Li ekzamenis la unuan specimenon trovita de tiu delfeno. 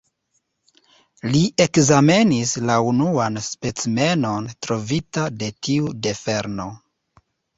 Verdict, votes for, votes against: rejected, 1, 2